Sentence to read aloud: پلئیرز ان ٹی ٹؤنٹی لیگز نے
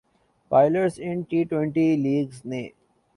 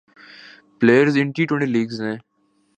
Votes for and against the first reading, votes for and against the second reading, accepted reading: 2, 3, 2, 0, second